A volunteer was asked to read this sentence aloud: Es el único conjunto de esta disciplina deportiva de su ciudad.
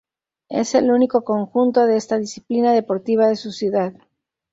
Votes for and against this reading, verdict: 2, 0, accepted